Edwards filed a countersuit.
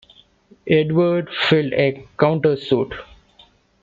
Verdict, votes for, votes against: rejected, 0, 2